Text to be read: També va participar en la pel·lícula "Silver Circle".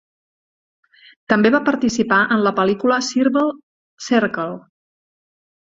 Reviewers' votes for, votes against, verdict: 0, 2, rejected